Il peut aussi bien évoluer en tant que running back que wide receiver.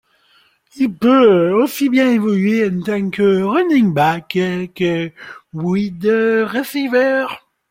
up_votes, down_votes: 1, 2